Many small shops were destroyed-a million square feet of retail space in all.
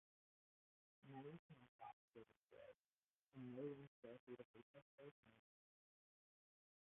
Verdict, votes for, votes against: rejected, 0, 2